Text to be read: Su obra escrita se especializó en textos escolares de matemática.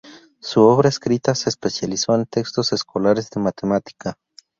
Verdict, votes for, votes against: accepted, 2, 0